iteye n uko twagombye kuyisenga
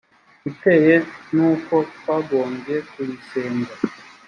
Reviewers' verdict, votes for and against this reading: accepted, 2, 0